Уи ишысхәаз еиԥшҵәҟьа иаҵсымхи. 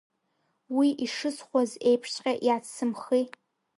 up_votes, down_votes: 2, 3